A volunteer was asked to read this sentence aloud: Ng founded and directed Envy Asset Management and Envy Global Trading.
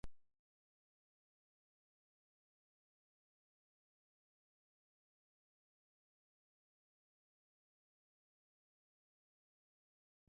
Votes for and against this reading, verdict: 0, 2, rejected